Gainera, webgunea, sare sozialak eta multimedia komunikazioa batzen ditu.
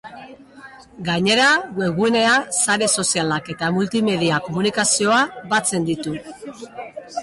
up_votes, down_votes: 3, 0